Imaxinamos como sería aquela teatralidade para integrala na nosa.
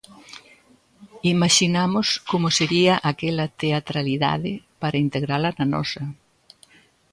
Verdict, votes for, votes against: accepted, 2, 0